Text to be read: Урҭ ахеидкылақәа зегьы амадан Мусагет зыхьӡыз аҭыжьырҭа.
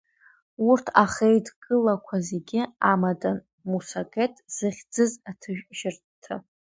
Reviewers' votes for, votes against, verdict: 0, 2, rejected